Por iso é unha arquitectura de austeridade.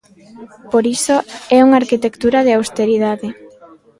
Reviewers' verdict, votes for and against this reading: rejected, 1, 2